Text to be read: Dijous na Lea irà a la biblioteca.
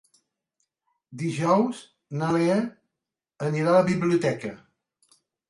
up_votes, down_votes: 0, 2